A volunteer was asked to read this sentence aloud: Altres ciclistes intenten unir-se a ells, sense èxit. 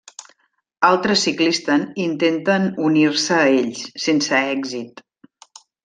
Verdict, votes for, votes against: rejected, 1, 3